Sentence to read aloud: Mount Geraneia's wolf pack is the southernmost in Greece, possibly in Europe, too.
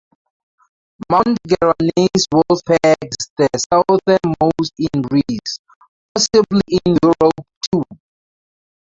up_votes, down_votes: 0, 2